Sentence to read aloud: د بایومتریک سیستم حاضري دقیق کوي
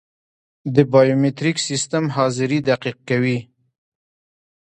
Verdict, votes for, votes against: accepted, 2, 0